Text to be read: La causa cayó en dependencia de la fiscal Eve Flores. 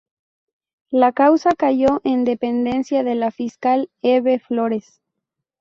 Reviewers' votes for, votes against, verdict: 4, 0, accepted